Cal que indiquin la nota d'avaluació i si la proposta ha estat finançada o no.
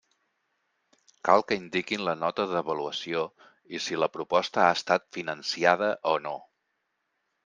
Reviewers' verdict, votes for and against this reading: rejected, 2, 3